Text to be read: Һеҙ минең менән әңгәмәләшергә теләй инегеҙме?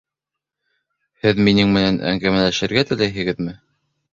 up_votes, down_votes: 1, 2